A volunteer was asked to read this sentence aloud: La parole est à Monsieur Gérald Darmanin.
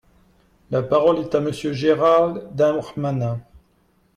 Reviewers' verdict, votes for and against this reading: rejected, 1, 2